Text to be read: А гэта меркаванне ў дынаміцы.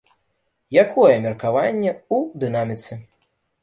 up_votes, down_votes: 0, 2